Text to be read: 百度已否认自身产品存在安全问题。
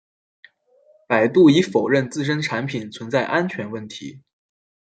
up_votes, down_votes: 2, 0